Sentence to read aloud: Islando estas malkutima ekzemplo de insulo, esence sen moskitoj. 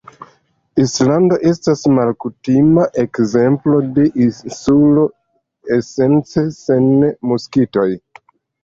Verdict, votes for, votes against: accepted, 2, 1